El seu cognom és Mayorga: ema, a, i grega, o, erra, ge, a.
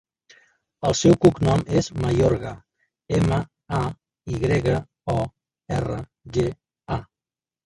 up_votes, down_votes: 1, 2